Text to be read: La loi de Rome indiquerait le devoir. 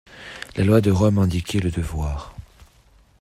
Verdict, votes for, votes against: rejected, 0, 2